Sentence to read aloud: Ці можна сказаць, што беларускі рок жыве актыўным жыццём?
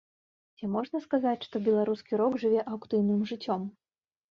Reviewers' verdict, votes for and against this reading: rejected, 1, 2